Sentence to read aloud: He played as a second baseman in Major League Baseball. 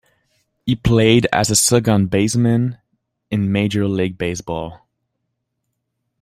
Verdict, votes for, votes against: accepted, 2, 0